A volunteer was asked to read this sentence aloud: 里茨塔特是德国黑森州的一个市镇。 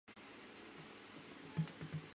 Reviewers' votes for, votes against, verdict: 0, 3, rejected